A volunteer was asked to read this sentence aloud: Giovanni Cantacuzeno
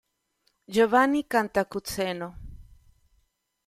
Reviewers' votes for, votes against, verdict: 2, 0, accepted